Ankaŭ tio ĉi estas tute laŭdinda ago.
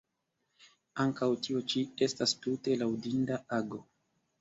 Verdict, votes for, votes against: accepted, 2, 0